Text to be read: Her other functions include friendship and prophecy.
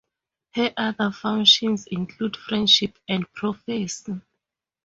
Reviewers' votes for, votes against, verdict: 2, 2, rejected